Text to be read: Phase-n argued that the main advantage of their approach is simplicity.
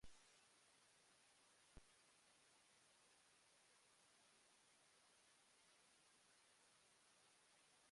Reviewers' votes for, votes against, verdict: 0, 2, rejected